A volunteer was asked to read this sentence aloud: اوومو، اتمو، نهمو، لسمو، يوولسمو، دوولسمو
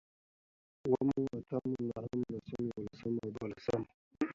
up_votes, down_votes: 2, 1